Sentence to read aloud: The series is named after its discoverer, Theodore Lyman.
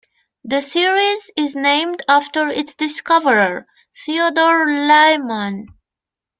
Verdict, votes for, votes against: rejected, 1, 2